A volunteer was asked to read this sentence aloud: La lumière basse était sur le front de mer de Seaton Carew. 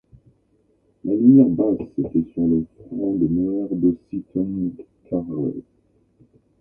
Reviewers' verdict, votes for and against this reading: rejected, 0, 2